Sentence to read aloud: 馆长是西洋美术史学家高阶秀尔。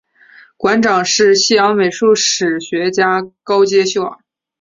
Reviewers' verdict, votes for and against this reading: accepted, 2, 0